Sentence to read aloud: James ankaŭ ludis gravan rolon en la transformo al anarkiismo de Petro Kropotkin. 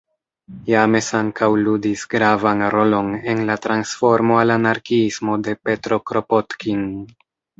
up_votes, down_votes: 1, 2